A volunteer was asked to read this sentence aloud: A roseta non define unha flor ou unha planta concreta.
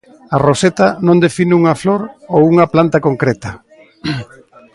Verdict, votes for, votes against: rejected, 1, 2